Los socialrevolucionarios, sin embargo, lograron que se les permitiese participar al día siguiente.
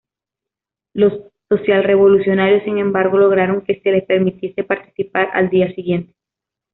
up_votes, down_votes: 2, 0